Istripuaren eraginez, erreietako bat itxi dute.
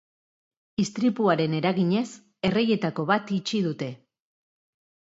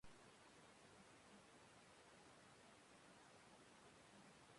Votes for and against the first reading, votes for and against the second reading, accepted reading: 2, 0, 0, 2, first